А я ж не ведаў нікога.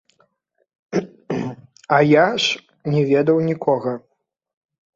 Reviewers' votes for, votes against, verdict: 0, 2, rejected